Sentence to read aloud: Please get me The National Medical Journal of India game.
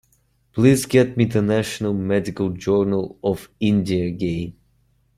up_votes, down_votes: 2, 0